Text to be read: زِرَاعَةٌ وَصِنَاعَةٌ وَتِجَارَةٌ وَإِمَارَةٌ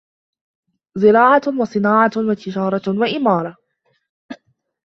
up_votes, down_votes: 0, 2